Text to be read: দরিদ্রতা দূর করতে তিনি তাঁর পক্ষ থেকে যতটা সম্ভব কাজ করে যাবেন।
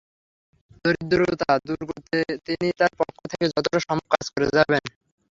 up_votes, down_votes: 0, 3